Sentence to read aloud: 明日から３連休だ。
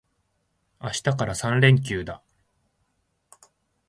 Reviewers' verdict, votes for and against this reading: rejected, 0, 2